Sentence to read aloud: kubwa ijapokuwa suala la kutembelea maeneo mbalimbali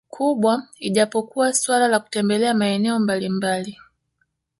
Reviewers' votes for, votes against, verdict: 1, 2, rejected